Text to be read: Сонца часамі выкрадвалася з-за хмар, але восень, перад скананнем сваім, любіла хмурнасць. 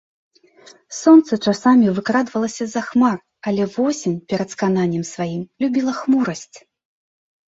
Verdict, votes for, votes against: rejected, 1, 2